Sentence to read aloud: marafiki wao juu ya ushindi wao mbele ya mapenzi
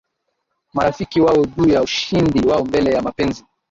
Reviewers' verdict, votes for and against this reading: rejected, 0, 2